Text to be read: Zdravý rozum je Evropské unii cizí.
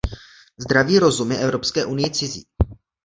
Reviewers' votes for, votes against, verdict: 2, 0, accepted